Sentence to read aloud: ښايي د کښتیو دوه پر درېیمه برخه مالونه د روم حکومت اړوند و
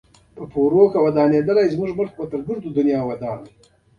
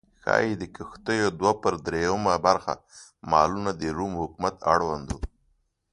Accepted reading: second